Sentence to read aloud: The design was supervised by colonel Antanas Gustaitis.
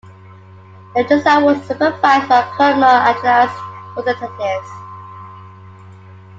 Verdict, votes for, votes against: rejected, 1, 2